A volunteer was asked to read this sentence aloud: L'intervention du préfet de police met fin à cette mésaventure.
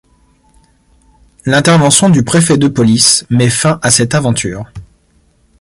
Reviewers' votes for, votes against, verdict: 0, 2, rejected